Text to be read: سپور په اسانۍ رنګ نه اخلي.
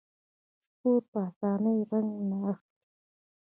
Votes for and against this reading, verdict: 2, 1, accepted